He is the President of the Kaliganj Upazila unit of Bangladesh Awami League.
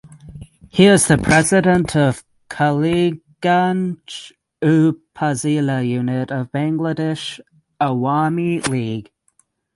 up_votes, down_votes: 0, 3